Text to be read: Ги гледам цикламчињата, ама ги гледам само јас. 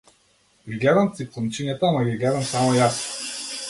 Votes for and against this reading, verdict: 2, 0, accepted